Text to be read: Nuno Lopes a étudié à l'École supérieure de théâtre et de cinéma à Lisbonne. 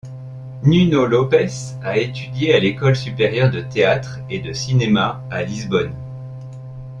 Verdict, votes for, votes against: accepted, 2, 0